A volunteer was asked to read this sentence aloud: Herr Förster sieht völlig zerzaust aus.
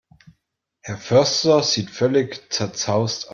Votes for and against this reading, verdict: 0, 2, rejected